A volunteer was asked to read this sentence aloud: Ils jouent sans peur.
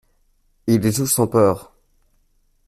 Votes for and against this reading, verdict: 1, 2, rejected